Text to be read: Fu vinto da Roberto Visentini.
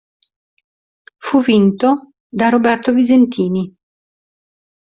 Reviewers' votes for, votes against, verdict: 2, 0, accepted